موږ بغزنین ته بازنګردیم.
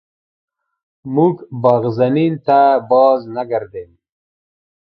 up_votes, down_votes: 2, 1